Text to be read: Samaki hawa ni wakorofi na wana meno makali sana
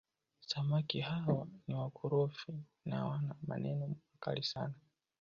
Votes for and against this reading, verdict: 0, 2, rejected